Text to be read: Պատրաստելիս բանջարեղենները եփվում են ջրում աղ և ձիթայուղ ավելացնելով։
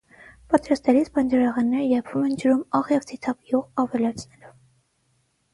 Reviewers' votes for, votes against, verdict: 3, 3, rejected